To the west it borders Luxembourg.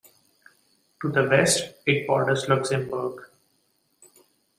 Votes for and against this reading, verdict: 1, 2, rejected